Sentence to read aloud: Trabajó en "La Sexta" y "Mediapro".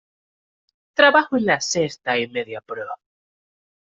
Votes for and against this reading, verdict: 1, 2, rejected